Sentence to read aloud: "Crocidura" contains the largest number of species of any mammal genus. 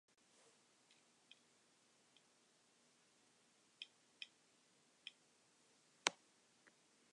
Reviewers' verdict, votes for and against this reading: rejected, 0, 2